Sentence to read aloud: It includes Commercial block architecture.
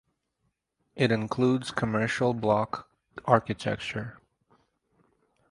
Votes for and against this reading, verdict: 4, 0, accepted